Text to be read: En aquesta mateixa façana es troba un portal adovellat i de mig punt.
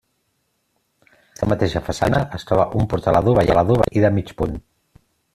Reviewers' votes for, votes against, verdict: 0, 2, rejected